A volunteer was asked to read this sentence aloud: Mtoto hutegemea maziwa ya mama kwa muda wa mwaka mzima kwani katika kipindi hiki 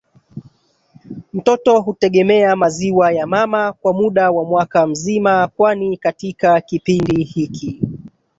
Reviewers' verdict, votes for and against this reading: accepted, 3, 2